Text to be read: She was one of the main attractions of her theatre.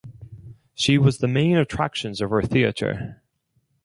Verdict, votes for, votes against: rejected, 0, 4